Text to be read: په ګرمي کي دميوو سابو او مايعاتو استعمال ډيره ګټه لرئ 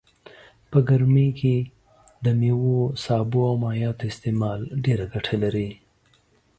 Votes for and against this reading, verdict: 2, 0, accepted